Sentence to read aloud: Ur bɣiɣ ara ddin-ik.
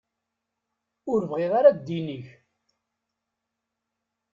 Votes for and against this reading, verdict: 2, 0, accepted